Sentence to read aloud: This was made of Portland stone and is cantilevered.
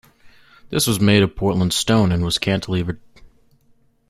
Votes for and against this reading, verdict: 1, 2, rejected